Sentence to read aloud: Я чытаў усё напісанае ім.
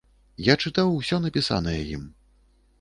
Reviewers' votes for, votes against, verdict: 2, 0, accepted